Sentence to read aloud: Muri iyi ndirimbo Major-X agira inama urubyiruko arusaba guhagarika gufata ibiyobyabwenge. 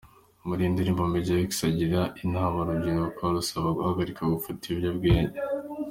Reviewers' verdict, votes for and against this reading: accepted, 2, 0